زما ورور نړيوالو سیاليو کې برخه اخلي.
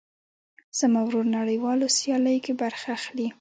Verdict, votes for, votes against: accepted, 2, 0